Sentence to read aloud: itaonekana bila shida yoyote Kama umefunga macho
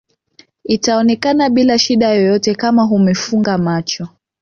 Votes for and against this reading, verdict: 1, 2, rejected